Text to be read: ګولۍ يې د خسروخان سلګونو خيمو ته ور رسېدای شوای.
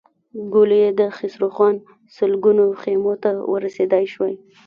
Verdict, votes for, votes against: rejected, 1, 2